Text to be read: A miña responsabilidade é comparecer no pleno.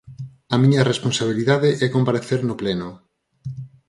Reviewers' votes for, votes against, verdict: 4, 0, accepted